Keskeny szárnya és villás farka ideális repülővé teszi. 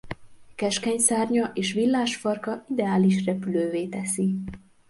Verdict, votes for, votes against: accepted, 2, 0